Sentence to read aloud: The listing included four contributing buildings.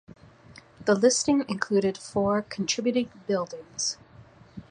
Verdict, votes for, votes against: accepted, 2, 0